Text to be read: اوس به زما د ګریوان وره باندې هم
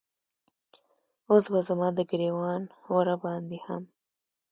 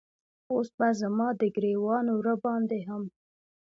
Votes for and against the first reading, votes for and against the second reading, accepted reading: 2, 0, 0, 2, first